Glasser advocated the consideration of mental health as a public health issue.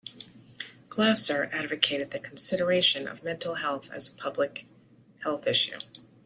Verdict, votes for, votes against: accepted, 2, 0